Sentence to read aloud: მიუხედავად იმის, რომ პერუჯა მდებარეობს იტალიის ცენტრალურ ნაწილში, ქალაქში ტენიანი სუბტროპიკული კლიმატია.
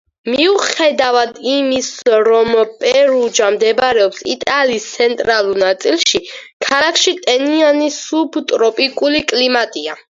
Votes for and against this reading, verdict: 4, 2, accepted